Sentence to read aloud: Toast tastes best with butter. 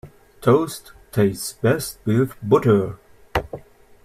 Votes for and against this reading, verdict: 2, 0, accepted